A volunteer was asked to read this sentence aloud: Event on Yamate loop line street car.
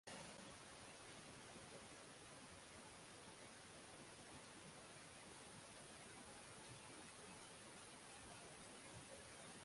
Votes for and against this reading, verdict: 0, 6, rejected